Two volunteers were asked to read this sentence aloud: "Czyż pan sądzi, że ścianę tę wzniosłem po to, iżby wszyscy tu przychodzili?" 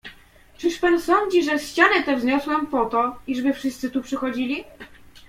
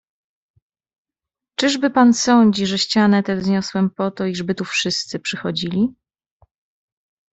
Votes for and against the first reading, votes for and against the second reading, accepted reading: 2, 0, 0, 2, first